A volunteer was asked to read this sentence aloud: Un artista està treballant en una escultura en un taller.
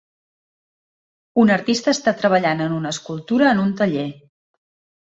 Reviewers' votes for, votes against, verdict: 3, 0, accepted